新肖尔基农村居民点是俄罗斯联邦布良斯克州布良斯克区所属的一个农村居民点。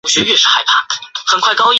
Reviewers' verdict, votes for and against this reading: rejected, 0, 4